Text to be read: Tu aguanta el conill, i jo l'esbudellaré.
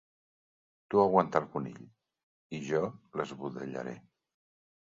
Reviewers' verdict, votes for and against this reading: accepted, 2, 0